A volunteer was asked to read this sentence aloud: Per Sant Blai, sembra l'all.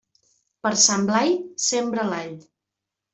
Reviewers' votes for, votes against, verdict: 2, 0, accepted